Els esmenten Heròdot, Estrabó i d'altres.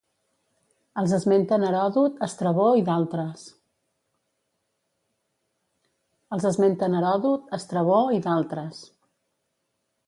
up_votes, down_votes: 0, 2